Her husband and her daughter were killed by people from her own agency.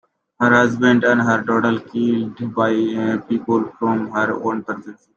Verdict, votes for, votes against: rejected, 1, 2